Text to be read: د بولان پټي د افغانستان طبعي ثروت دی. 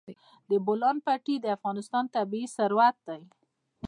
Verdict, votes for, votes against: accepted, 3, 0